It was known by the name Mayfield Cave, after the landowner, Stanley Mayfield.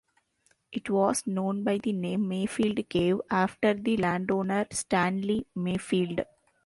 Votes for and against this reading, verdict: 2, 0, accepted